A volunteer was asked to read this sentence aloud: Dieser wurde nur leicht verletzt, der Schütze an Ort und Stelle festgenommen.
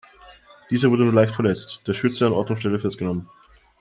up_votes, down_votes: 2, 0